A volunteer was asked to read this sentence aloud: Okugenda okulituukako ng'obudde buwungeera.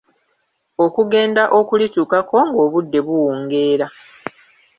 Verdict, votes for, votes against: rejected, 1, 2